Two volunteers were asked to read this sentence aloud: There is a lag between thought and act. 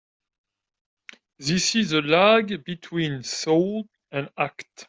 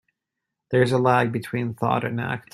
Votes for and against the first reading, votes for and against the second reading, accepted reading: 1, 2, 2, 0, second